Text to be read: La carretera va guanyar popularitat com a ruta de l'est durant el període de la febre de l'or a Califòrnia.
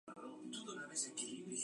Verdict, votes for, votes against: rejected, 0, 2